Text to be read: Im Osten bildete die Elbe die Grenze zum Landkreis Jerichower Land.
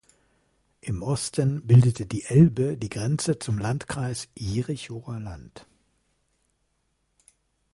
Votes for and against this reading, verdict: 2, 0, accepted